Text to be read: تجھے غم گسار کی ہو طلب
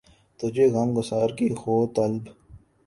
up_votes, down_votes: 2, 0